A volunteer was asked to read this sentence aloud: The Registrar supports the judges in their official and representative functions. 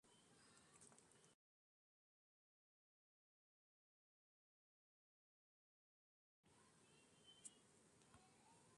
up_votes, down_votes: 0, 2